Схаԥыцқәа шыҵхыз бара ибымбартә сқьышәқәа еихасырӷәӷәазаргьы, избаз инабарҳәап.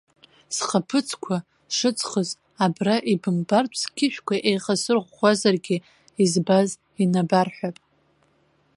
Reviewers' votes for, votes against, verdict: 1, 2, rejected